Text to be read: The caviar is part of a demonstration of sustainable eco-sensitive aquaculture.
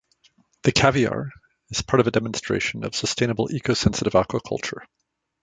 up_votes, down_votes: 2, 0